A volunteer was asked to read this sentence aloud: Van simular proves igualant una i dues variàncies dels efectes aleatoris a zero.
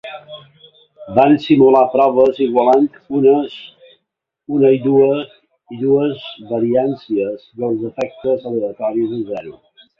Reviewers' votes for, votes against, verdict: 0, 2, rejected